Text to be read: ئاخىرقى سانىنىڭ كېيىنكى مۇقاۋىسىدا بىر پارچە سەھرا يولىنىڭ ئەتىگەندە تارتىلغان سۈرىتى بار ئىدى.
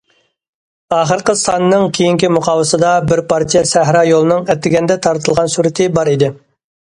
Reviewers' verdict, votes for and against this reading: accepted, 2, 0